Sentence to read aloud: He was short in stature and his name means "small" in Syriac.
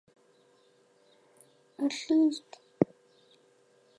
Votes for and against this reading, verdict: 0, 4, rejected